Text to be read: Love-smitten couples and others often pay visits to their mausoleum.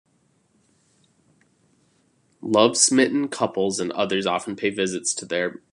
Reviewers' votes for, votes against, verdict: 0, 2, rejected